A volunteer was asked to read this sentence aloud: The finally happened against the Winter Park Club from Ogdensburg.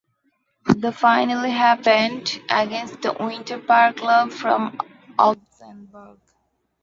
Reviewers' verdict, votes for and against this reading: rejected, 1, 2